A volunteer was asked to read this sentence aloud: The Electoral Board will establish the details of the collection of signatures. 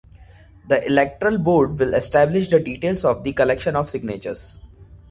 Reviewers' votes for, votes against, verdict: 1, 2, rejected